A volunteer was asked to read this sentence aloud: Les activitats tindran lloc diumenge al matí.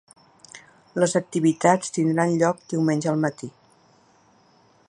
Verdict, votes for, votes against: accepted, 3, 0